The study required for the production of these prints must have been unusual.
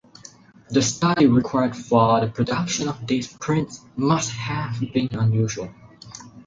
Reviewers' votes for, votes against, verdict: 4, 0, accepted